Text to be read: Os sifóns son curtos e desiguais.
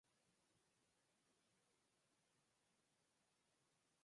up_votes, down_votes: 0, 4